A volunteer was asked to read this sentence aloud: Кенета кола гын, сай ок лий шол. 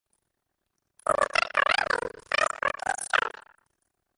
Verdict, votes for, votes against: rejected, 0, 2